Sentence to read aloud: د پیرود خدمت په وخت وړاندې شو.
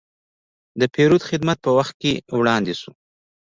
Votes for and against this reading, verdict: 1, 2, rejected